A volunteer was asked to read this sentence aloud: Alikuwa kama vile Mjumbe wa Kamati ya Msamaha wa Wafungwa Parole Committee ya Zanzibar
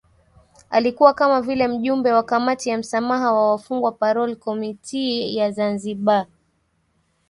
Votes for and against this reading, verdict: 2, 0, accepted